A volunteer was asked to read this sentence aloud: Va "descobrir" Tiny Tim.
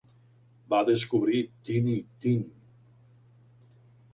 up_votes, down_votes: 2, 0